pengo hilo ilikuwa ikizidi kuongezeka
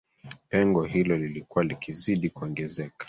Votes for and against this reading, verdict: 1, 2, rejected